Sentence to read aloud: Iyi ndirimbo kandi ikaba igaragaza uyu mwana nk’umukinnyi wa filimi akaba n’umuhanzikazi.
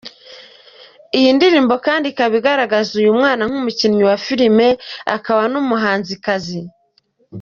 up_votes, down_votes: 3, 0